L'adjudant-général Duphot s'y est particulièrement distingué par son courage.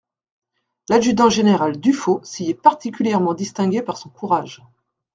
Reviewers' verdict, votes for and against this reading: rejected, 1, 2